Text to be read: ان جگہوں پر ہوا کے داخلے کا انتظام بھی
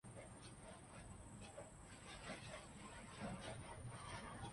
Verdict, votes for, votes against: rejected, 0, 2